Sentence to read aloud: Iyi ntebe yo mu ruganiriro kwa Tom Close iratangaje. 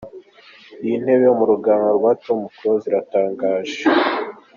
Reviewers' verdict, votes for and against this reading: accepted, 3, 0